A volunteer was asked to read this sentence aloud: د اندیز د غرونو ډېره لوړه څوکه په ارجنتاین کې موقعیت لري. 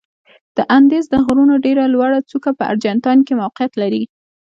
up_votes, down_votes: 2, 0